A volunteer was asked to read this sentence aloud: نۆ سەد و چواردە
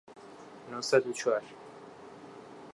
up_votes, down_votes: 0, 2